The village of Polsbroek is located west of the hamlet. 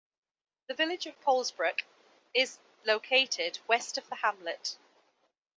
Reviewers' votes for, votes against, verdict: 2, 0, accepted